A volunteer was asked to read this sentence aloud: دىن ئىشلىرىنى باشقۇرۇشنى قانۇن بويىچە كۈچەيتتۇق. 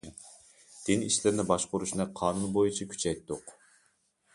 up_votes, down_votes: 2, 0